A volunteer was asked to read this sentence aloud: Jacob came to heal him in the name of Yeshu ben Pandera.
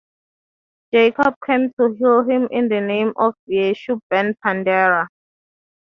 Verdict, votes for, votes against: accepted, 3, 0